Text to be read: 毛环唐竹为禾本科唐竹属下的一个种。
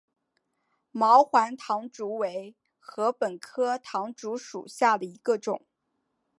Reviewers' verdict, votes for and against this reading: accepted, 5, 0